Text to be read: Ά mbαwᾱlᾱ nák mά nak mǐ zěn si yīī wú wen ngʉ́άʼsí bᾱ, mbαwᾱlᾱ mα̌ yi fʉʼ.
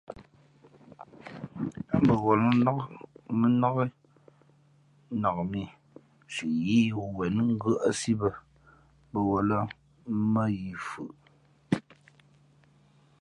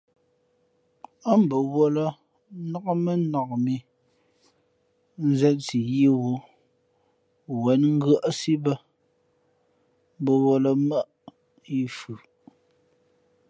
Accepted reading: second